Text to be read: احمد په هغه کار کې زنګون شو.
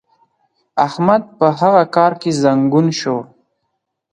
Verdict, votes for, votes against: accepted, 4, 0